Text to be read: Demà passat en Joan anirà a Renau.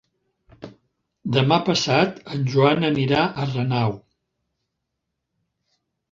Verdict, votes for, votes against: accepted, 4, 0